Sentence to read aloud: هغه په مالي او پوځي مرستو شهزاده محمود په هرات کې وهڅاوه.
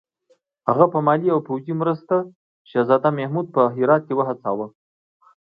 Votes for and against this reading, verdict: 2, 0, accepted